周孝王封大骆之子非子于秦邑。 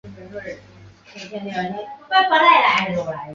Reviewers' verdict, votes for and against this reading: rejected, 3, 7